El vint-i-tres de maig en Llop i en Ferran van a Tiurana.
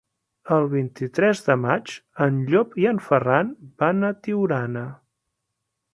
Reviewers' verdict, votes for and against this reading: accepted, 3, 0